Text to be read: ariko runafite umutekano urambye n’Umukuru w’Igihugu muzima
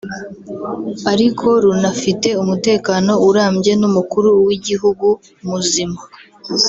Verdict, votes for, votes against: rejected, 1, 2